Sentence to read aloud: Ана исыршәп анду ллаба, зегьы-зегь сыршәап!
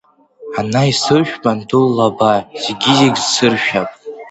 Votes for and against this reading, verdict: 1, 2, rejected